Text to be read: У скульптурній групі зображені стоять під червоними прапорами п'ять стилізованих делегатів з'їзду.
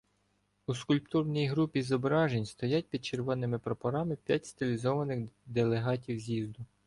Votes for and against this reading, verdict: 1, 2, rejected